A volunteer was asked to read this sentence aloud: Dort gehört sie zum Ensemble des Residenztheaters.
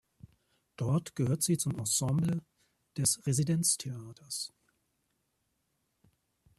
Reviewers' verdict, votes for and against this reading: accepted, 2, 0